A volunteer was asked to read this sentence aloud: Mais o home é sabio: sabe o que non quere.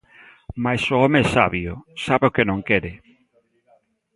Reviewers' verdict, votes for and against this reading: accepted, 3, 0